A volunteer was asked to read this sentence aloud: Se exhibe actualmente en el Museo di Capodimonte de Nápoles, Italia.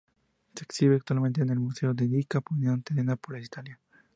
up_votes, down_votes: 0, 4